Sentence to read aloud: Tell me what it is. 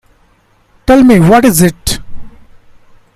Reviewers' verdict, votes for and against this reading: rejected, 0, 2